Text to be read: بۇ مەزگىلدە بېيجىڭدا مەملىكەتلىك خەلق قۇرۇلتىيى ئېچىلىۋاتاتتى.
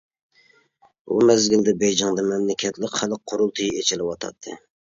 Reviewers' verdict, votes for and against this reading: accepted, 2, 0